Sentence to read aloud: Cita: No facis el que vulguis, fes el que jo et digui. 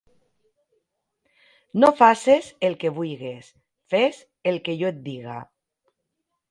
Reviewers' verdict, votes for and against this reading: rejected, 0, 4